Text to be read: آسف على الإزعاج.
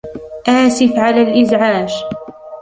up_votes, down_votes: 2, 1